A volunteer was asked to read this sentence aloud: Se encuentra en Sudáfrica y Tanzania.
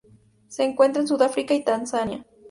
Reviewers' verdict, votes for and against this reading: accepted, 2, 0